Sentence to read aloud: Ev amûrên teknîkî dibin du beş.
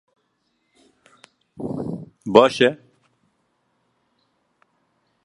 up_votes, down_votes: 0, 2